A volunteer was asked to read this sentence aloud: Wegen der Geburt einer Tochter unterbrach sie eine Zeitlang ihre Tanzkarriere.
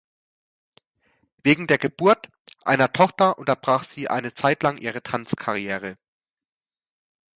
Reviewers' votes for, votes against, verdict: 2, 0, accepted